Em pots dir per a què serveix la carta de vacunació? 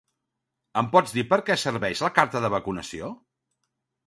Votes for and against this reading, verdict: 1, 2, rejected